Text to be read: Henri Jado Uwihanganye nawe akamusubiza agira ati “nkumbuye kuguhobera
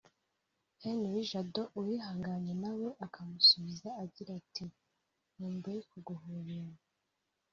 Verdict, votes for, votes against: accepted, 2, 1